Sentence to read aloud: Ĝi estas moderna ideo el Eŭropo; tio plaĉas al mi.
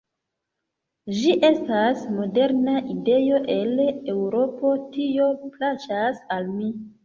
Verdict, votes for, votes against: accepted, 2, 0